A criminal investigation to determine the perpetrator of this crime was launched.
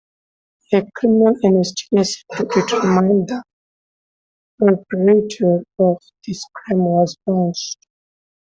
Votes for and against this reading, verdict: 1, 2, rejected